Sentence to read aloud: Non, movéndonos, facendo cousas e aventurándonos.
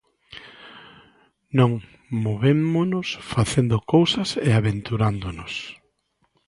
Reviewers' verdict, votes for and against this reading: rejected, 0, 2